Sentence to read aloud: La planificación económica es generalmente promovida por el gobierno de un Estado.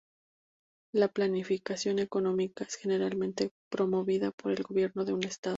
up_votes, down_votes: 2, 0